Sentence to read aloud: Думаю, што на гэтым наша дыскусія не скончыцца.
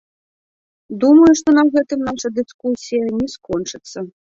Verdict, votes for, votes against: rejected, 0, 2